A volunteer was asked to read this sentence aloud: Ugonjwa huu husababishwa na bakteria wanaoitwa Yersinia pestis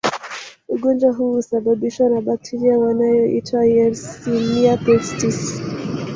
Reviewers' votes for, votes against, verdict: 0, 2, rejected